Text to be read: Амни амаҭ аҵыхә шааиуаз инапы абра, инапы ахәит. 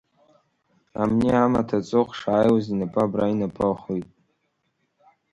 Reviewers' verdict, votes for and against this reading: accepted, 2, 1